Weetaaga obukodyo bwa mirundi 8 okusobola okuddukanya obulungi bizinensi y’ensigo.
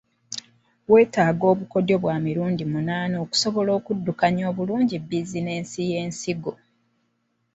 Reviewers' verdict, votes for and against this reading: rejected, 0, 2